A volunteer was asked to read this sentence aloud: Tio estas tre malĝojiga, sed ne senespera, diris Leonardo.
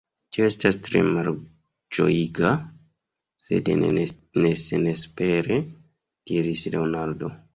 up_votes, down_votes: 2, 1